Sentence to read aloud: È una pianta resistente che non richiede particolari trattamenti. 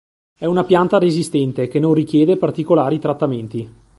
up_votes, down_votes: 2, 0